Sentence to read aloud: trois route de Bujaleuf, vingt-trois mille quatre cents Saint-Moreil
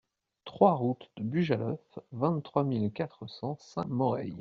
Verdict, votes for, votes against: accepted, 2, 0